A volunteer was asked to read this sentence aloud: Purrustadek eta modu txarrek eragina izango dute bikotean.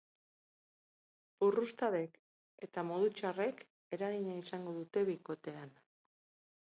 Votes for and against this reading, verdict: 4, 0, accepted